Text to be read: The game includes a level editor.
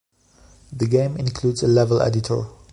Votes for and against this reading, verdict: 2, 0, accepted